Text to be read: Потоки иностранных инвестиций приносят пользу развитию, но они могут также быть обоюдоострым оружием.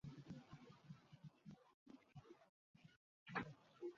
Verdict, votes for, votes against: rejected, 0, 2